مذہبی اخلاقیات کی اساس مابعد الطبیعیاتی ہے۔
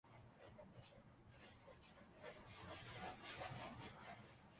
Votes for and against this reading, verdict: 0, 2, rejected